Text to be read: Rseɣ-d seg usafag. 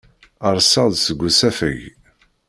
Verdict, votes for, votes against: rejected, 0, 2